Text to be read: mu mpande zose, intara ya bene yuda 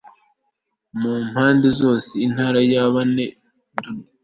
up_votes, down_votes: 1, 2